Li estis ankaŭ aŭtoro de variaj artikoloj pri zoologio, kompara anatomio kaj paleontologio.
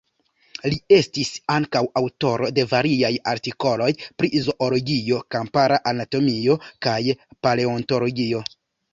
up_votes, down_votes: 0, 2